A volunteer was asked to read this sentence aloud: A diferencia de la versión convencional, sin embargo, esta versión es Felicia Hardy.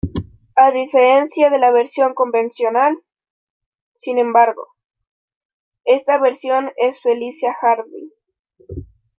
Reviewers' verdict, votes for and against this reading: accepted, 2, 0